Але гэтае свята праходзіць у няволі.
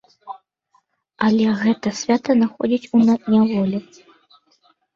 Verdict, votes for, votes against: rejected, 0, 2